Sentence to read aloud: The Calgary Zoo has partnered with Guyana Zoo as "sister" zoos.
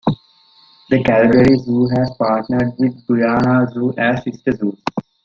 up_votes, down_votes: 1, 2